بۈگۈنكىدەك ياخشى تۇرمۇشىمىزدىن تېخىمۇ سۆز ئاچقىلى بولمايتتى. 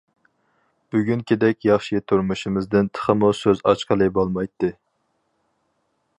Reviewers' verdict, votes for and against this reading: accepted, 4, 0